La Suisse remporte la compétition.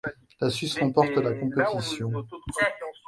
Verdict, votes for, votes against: rejected, 0, 2